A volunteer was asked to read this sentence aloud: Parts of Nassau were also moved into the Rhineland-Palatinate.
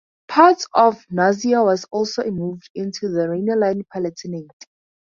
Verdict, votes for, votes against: rejected, 0, 2